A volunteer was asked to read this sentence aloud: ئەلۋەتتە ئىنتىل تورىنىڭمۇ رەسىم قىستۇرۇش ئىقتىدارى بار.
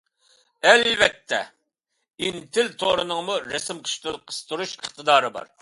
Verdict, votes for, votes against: accepted, 2, 1